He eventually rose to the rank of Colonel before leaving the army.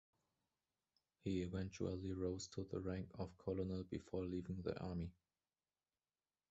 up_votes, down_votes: 1, 2